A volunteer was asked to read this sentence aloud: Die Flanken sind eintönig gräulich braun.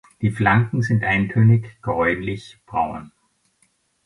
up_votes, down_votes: 2, 0